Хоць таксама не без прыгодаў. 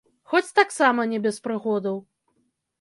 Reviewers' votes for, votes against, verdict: 1, 2, rejected